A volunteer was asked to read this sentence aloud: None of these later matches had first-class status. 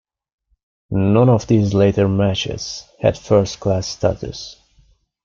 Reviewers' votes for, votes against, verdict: 2, 0, accepted